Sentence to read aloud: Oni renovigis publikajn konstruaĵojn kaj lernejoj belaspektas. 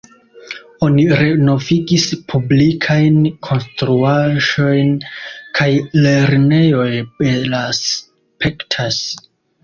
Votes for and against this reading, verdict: 2, 0, accepted